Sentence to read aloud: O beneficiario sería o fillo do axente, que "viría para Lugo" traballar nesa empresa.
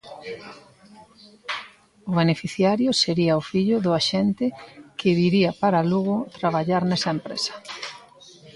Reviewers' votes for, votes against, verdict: 2, 0, accepted